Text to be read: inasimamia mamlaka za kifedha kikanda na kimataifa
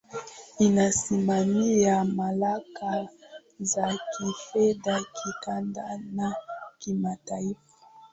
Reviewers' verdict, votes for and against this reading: accepted, 2, 1